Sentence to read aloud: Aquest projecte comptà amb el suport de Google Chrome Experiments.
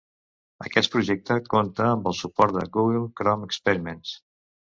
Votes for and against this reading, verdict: 1, 2, rejected